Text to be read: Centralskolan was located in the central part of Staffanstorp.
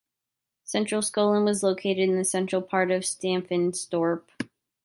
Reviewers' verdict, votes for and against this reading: accepted, 2, 0